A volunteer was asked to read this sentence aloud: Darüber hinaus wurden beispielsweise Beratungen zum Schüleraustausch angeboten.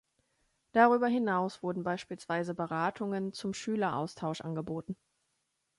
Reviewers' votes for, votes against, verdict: 2, 0, accepted